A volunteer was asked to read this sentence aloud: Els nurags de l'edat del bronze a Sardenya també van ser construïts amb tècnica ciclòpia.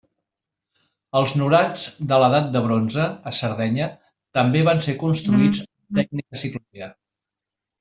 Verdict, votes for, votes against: rejected, 1, 2